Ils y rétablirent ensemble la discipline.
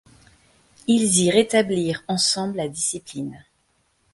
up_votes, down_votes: 2, 0